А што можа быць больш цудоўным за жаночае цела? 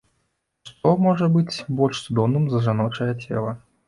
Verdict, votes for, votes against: rejected, 1, 2